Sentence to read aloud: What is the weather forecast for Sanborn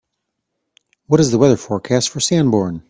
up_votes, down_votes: 3, 0